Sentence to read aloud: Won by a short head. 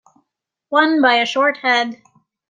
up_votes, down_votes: 2, 0